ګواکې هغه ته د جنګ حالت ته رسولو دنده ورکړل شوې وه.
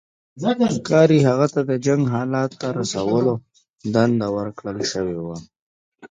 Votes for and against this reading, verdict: 1, 2, rejected